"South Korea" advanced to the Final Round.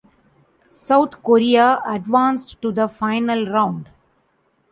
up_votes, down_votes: 2, 0